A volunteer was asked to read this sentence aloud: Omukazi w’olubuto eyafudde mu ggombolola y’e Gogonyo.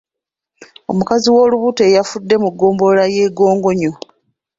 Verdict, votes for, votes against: accepted, 2, 0